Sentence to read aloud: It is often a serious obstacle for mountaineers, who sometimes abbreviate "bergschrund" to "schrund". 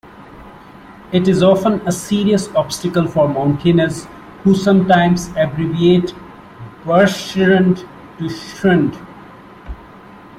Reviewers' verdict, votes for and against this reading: rejected, 0, 2